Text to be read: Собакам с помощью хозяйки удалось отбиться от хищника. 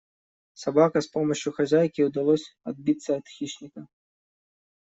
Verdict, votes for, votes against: rejected, 1, 2